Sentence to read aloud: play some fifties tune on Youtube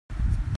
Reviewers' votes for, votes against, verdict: 0, 2, rejected